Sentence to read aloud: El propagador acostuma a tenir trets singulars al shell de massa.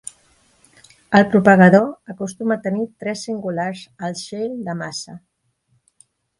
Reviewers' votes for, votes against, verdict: 2, 0, accepted